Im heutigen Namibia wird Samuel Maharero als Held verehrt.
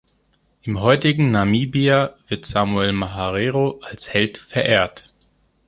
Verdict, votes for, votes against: accepted, 2, 0